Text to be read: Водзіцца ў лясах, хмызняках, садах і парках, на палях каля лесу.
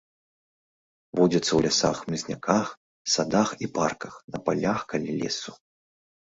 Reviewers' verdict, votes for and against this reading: accepted, 2, 0